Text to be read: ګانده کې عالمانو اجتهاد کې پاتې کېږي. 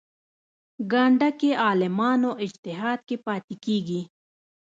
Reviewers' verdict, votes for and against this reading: accepted, 3, 1